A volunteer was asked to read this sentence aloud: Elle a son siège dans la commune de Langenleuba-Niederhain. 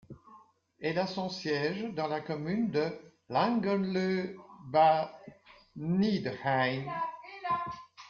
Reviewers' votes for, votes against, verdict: 1, 2, rejected